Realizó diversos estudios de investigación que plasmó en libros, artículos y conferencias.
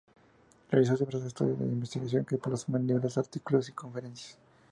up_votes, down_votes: 0, 2